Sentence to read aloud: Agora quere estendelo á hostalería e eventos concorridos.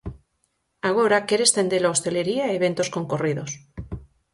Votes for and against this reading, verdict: 2, 4, rejected